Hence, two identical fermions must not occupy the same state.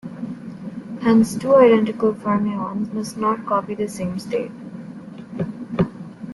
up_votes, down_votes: 0, 2